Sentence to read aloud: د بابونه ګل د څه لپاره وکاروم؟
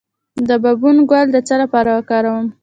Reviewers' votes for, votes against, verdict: 2, 1, accepted